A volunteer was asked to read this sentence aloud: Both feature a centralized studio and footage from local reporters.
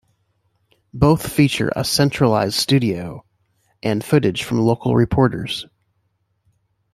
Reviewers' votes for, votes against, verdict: 2, 0, accepted